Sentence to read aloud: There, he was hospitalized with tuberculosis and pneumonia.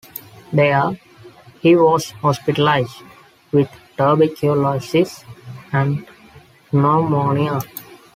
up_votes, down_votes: 0, 3